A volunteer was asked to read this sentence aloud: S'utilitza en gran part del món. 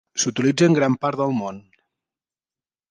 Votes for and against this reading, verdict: 3, 0, accepted